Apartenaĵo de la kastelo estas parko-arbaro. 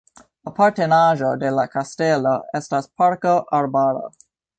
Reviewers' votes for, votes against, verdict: 3, 0, accepted